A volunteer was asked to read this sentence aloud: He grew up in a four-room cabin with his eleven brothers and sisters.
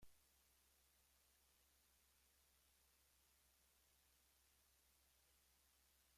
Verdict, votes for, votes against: rejected, 1, 2